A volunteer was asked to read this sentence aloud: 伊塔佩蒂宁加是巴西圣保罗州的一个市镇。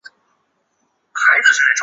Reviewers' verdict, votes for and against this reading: rejected, 0, 2